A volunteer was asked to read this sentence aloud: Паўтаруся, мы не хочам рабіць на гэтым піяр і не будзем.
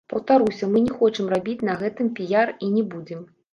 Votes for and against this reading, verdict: 1, 2, rejected